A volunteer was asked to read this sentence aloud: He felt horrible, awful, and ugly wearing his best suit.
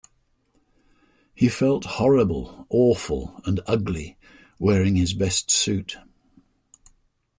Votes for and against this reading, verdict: 2, 1, accepted